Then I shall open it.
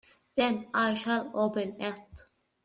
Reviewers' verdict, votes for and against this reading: accepted, 2, 0